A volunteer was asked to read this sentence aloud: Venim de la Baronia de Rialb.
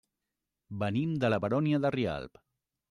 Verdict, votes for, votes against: rejected, 1, 2